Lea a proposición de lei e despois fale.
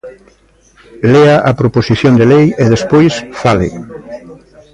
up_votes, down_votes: 2, 0